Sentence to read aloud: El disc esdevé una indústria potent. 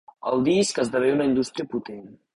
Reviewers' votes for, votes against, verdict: 2, 0, accepted